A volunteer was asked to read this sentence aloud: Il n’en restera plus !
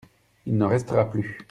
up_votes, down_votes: 2, 0